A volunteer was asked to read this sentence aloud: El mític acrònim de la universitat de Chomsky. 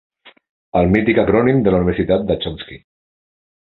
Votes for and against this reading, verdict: 2, 0, accepted